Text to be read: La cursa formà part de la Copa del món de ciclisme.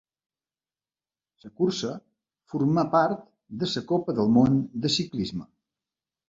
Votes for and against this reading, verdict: 0, 2, rejected